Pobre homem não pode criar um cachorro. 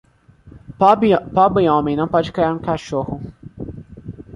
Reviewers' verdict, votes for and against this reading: rejected, 0, 2